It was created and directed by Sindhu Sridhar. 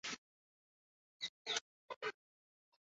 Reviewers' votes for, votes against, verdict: 0, 2, rejected